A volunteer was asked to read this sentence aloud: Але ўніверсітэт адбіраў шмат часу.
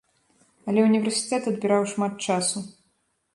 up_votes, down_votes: 1, 3